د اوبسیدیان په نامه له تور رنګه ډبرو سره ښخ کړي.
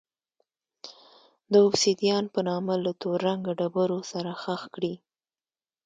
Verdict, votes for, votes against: rejected, 1, 2